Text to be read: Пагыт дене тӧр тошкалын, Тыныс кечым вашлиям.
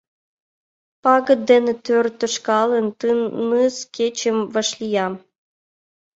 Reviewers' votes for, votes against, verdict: 1, 2, rejected